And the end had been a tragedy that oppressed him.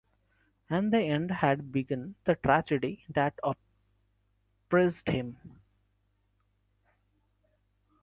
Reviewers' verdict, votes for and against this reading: rejected, 0, 2